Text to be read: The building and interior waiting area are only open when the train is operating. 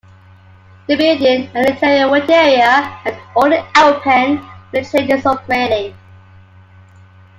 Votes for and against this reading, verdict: 2, 0, accepted